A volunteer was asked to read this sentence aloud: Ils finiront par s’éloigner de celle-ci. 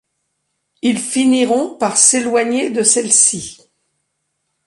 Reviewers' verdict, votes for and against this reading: accepted, 2, 0